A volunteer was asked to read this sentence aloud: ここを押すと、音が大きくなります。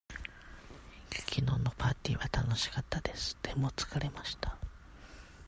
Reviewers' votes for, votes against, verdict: 0, 2, rejected